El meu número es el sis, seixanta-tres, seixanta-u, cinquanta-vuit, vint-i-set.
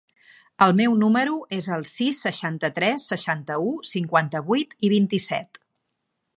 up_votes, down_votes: 1, 2